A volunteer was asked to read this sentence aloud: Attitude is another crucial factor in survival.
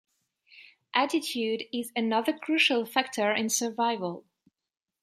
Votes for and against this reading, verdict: 2, 0, accepted